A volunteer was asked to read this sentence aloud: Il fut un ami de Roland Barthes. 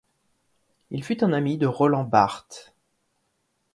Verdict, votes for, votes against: accepted, 2, 0